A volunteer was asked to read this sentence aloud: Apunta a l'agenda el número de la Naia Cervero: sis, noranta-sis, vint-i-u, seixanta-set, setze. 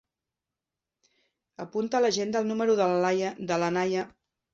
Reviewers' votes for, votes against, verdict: 0, 2, rejected